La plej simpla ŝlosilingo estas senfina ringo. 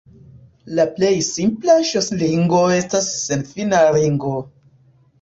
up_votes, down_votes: 2, 1